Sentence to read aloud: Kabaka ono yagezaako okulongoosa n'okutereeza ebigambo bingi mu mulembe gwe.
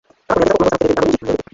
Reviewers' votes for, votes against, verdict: 1, 2, rejected